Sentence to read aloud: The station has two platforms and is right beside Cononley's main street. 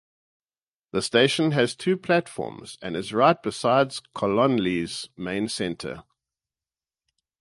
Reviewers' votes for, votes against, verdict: 0, 8, rejected